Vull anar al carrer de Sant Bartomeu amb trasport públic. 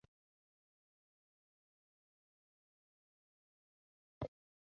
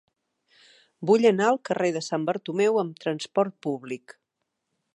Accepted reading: second